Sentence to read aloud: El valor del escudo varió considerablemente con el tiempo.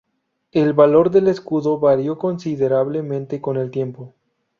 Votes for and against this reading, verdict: 2, 0, accepted